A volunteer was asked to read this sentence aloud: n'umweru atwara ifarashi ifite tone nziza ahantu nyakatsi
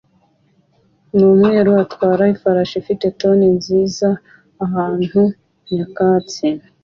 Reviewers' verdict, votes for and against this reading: accepted, 2, 0